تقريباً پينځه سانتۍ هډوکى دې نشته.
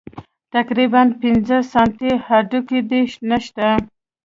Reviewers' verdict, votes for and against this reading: accepted, 2, 0